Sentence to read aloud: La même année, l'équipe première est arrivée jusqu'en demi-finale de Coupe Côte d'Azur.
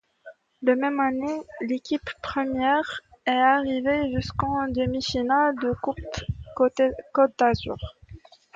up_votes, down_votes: 2, 1